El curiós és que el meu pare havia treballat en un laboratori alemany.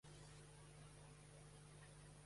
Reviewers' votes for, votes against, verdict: 0, 2, rejected